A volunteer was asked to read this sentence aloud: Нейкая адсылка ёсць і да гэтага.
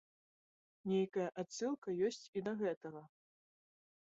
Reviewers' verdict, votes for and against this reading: accepted, 2, 0